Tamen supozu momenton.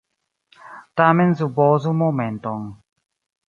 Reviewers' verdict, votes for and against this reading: accepted, 2, 0